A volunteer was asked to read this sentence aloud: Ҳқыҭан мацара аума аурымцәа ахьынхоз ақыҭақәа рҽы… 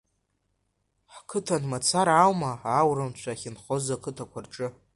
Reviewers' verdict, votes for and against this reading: rejected, 1, 2